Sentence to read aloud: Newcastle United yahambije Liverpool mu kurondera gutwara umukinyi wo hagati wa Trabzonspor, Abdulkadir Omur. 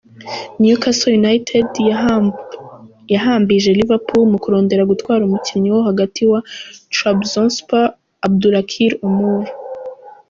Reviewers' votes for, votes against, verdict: 0, 2, rejected